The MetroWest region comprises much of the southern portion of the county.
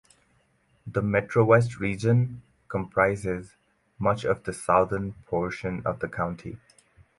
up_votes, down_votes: 2, 2